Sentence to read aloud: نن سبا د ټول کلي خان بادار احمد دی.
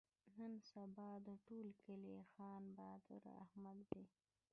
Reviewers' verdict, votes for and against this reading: accepted, 2, 0